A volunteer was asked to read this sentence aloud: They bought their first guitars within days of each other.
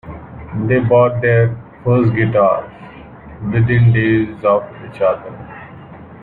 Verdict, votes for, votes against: rejected, 1, 2